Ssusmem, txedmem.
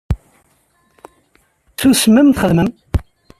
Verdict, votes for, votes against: rejected, 0, 2